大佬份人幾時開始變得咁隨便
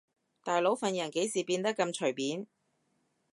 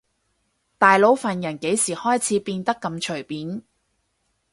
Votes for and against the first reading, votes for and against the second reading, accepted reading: 1, 2, 4, 0, second